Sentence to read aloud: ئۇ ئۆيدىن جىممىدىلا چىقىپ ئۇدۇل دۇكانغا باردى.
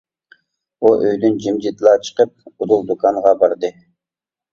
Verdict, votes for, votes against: rejected, 0, 2